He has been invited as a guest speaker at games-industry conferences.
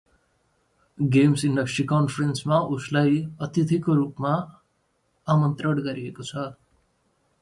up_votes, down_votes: 0, 2